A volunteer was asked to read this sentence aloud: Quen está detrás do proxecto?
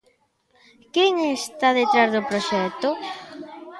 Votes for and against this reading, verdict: 0, 2, rejected